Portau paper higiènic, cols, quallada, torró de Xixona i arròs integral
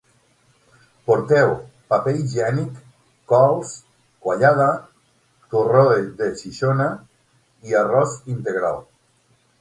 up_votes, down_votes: 0, 6